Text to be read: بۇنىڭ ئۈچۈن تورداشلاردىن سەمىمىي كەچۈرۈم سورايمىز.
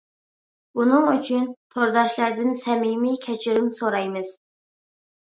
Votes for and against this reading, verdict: 2, 0, accepted